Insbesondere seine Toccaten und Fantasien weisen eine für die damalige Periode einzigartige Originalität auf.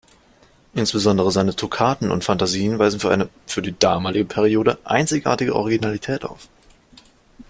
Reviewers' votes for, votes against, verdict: 0, 2, rejected